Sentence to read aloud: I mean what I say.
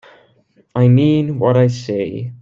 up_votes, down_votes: 2, 0